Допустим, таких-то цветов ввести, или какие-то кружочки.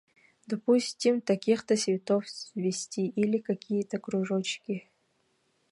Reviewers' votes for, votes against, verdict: 1, 2, rejected